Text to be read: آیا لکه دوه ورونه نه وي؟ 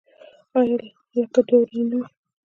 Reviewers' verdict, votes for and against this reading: rejected, 1, 2